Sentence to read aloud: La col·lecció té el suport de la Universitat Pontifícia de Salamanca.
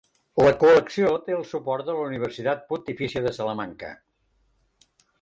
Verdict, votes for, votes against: rejected, 2, 3